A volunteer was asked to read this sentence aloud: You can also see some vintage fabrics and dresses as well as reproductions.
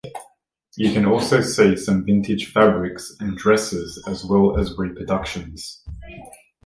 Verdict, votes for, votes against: accepted, 2, 1